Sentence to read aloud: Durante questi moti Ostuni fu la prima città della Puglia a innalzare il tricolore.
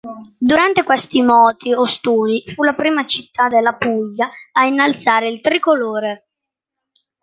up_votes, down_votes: 2, 0